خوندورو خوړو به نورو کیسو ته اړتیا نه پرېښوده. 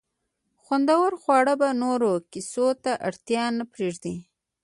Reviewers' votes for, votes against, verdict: 0, 2, rejected